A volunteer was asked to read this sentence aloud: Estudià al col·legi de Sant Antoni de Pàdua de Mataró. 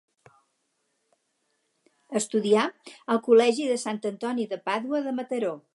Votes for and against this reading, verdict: 2, 0, accepted